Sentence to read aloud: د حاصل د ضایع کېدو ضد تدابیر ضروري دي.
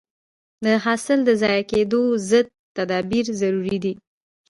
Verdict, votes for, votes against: rejected, 0, 2